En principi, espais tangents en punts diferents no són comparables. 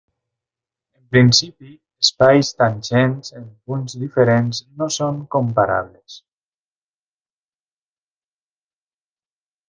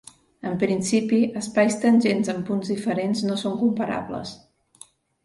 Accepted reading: second